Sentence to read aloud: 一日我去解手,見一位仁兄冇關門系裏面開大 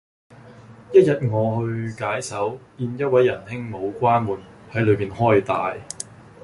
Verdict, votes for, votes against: accepted, 2, 0